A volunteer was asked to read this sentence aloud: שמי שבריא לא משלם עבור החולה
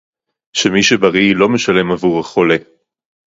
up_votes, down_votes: 4, 0